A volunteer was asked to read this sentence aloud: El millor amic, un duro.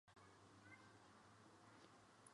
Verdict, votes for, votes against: rejected, 1, 2